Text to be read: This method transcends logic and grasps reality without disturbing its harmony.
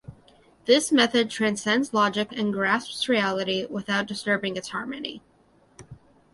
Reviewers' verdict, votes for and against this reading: accepted, 2, 0